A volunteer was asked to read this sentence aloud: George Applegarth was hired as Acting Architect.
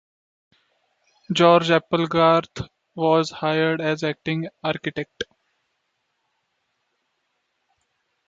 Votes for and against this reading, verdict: 0, 2, rejected